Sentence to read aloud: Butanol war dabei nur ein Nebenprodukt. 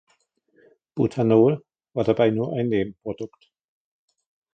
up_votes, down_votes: 1, 2